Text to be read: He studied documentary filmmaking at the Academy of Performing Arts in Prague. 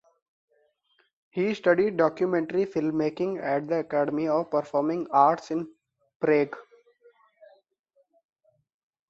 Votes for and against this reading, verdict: 2, 0, accepted